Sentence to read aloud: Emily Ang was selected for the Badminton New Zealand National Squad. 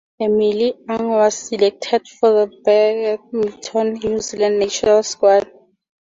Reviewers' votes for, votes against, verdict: 4, 2, accepted